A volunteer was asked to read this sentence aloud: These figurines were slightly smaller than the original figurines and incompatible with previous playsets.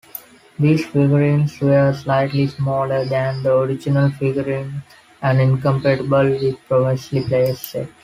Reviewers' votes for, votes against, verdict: 1, 2, rejected